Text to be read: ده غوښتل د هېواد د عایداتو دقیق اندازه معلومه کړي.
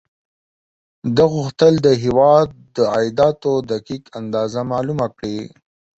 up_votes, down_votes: 14, 0